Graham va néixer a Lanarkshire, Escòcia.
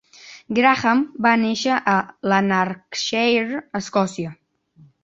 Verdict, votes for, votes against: rejected, 0, 2